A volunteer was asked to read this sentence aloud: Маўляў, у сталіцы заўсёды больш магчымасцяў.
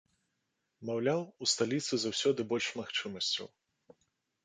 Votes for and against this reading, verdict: 2, 0, accepted